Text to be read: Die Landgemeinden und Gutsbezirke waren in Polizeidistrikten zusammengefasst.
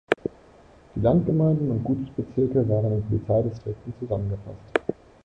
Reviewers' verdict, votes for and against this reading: accepted, 2, 0